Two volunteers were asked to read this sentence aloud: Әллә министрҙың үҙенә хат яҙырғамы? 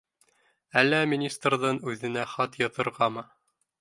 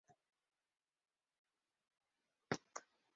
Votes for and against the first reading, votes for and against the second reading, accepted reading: 2, 0, 1, 2, first